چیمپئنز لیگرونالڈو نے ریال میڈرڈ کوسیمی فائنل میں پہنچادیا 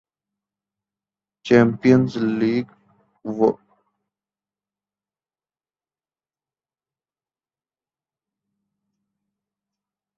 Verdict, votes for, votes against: rejected, 1, 2